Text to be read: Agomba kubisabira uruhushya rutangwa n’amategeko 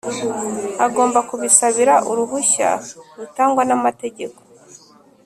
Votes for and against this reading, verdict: 2, 0, accepted